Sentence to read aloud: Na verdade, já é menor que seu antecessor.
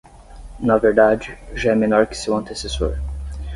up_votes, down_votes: 6, 0